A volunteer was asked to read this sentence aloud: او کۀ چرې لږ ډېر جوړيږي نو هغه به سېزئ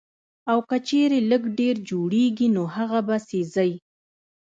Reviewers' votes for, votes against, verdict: 1, 2, rejected